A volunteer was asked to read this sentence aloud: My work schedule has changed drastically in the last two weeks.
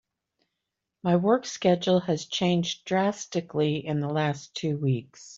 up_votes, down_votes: 2, 0